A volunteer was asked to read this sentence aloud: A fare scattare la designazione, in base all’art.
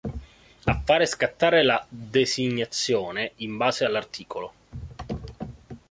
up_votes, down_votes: 2, 0